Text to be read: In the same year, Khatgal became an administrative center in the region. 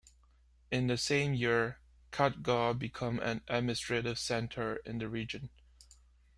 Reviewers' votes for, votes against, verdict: 2, 1, accepted